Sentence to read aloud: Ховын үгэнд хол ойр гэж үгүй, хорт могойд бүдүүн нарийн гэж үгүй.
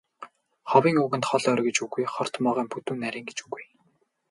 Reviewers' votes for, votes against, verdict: 0, 2, rejected